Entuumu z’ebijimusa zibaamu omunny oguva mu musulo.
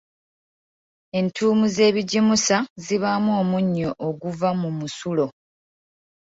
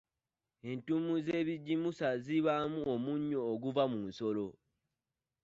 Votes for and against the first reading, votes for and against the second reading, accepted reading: 2, 1, 1, 2, first